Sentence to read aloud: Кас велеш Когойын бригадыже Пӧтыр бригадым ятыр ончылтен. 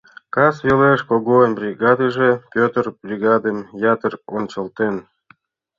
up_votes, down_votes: 2, 0